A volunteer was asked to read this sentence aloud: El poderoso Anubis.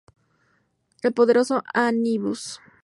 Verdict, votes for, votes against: rejected, 0, 2